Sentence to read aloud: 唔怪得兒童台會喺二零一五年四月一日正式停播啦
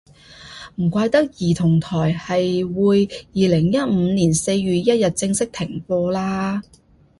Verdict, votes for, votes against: rejected, 0, 2